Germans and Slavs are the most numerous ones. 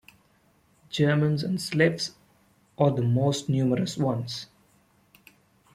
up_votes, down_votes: 2, 0